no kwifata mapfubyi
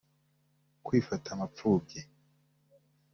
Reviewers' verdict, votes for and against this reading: rejected, 0, 2